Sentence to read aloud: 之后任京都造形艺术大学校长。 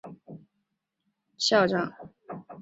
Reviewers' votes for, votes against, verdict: 0, 2, rejected